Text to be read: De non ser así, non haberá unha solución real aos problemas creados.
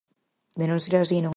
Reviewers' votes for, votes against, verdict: 0, 4, rejected